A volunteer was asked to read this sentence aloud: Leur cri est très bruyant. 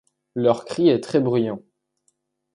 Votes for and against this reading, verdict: 2, 0, accepted